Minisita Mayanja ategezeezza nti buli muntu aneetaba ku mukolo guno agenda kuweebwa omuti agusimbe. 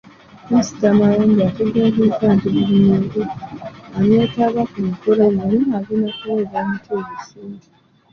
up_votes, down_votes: 1, 2